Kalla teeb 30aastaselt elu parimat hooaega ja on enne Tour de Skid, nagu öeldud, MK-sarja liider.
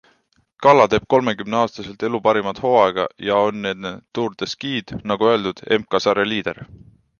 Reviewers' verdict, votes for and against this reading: rejected, 0, 2